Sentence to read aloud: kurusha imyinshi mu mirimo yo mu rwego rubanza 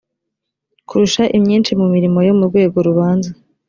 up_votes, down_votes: 2, 0